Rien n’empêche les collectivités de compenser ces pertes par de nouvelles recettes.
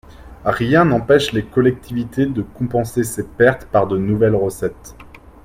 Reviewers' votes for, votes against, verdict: 2, 0, accepted